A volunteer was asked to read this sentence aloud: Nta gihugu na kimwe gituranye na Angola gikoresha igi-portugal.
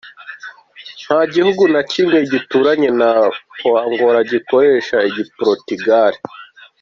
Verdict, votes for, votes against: accepted, 2, 0